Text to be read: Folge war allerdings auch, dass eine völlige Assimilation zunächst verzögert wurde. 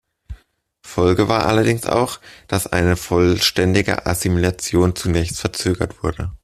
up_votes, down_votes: 0, 2